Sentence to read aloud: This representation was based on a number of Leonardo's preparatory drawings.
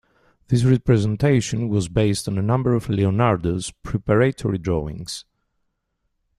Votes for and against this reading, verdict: 2, 0, accepted